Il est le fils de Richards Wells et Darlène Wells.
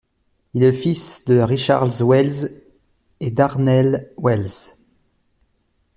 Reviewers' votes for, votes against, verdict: 0, 2, rejected